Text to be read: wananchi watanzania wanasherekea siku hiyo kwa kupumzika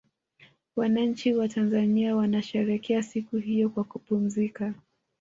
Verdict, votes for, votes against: accepted, 3, 0